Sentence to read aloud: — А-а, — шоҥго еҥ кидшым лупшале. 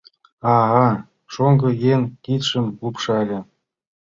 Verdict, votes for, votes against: accepted, 2, 0